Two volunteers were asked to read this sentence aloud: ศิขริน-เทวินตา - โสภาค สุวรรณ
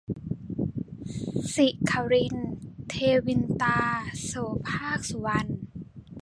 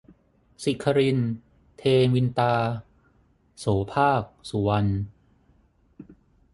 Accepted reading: second